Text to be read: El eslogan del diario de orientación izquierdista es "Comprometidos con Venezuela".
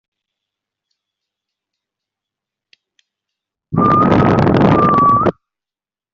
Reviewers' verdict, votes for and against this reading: rejected, 0, 2